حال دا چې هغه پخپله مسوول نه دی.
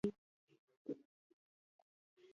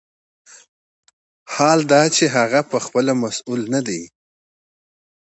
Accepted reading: second